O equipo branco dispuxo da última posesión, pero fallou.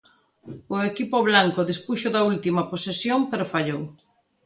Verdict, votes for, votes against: rejected, 1, 2